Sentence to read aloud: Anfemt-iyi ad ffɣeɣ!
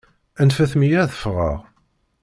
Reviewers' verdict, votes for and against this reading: rejected, 1, 2